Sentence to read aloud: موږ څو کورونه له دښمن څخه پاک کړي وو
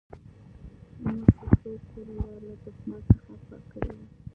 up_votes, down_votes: 0, 2